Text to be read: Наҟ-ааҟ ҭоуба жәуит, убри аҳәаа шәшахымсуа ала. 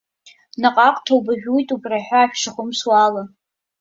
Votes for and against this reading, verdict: 0, 2, rejected